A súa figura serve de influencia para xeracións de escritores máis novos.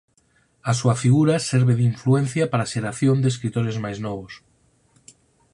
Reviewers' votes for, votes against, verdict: 0, 4, rejected